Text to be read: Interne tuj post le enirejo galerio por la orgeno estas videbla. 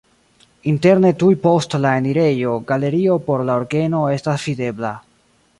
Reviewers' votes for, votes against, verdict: 1, 2, rejected